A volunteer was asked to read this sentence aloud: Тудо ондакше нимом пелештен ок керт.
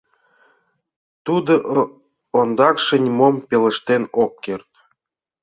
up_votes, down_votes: 0, 2